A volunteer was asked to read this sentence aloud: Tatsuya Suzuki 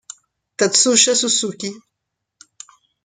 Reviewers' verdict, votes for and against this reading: rejected, 1, 2